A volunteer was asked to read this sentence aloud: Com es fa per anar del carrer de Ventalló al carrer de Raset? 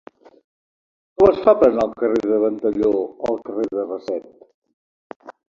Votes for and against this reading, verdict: 0, 2, rejected